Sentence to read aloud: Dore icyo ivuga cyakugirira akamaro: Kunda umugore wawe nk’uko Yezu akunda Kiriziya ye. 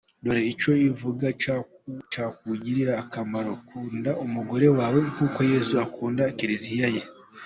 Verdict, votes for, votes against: rejected, 1, 2